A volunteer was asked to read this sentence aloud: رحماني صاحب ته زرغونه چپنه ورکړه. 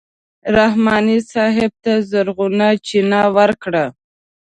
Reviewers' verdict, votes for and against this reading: rejected, 1, 2